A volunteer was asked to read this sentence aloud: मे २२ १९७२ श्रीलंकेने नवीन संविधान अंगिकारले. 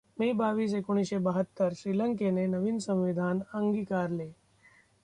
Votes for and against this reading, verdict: 0, 2, rejected